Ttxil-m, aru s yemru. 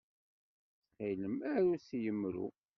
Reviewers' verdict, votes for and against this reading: rejected, 1, 2